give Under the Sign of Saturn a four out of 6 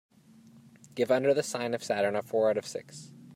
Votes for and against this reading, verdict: 0, 2, rejected